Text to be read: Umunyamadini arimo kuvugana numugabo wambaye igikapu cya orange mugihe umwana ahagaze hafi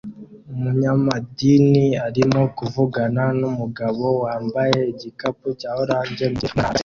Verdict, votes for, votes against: rejected, 0, 2